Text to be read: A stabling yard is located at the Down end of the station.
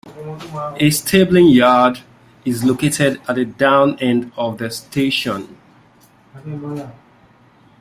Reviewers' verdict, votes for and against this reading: rejected, 0, 2